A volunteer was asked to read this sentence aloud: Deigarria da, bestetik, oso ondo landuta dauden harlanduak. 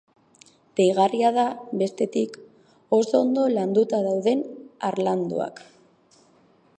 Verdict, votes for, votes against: rejected, 1, 2